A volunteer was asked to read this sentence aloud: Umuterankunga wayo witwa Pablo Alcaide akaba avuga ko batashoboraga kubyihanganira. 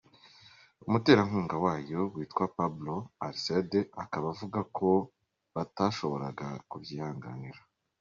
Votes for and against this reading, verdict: 2, 0, accepted